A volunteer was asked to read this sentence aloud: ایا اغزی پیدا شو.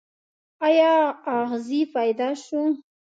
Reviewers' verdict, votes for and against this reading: accepted, 2, 0